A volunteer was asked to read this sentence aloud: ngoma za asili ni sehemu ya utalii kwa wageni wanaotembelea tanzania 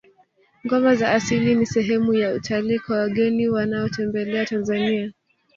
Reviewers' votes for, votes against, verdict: 2, 3, rejected